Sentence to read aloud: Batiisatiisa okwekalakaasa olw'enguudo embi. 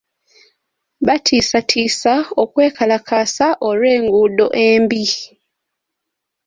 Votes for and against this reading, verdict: 2, 0, accepted